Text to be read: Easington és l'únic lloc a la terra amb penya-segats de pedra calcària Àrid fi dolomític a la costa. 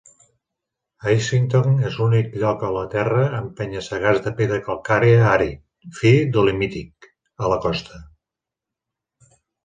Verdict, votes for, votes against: rejected, 1, 2